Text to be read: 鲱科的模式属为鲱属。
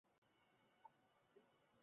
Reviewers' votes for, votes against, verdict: 0, 2, rejected